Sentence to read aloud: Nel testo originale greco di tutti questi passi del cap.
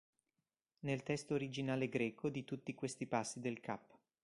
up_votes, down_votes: 2, 0